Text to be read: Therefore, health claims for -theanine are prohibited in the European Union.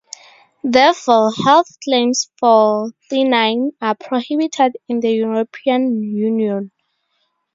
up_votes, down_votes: 0, 2